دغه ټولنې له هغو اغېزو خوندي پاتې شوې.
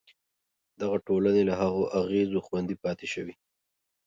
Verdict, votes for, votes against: accepted, 3, 0